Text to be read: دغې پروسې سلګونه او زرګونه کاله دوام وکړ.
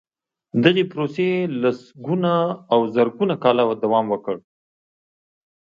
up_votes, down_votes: 1, 2